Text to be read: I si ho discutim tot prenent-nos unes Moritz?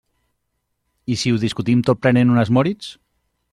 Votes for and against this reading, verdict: 0, 2, rejected